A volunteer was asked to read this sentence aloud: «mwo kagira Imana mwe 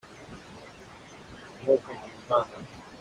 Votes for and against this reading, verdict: 1, 2, rejected